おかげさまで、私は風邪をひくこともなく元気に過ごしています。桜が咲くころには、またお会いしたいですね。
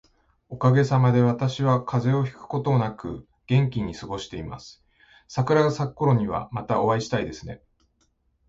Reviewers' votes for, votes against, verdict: 2, 0, accepted